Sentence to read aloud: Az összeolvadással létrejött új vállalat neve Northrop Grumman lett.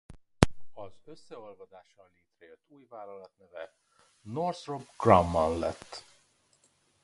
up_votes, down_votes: 0, 2